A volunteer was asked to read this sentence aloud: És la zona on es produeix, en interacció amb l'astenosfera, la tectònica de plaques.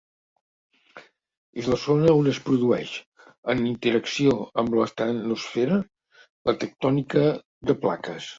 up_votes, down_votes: 2, 0